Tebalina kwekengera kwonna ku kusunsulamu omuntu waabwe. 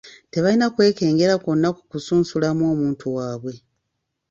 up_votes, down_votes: 2, 0